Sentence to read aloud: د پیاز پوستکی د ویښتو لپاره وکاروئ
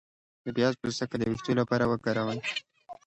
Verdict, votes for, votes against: accepted, 2, 0